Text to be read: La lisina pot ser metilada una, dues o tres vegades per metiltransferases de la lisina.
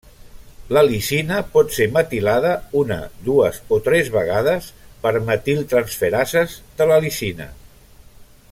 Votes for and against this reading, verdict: 1, 2, rejected